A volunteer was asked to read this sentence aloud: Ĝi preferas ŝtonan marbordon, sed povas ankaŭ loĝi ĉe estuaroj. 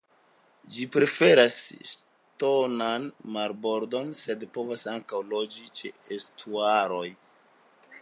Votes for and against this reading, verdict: 2, 0, accepted